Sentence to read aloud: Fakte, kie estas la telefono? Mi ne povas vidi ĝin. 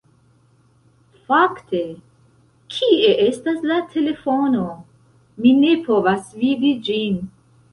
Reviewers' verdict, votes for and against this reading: rejected, 1, 2